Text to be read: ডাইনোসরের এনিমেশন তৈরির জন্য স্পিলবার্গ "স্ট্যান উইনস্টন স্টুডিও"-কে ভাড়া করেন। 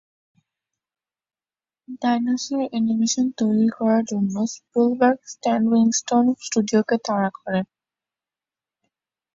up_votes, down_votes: 1, 2